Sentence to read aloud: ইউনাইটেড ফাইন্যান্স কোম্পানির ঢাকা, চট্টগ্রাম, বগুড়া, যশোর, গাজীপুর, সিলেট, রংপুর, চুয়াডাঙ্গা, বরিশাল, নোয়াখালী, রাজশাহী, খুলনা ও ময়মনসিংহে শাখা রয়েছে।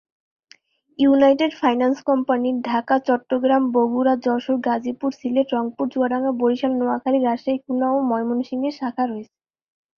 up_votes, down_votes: 4, 0